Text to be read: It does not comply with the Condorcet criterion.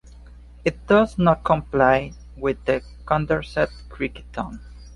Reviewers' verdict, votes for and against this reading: rejected, 1, 3